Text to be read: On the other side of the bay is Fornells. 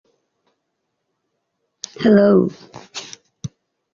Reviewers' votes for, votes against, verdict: 0, 2, rejected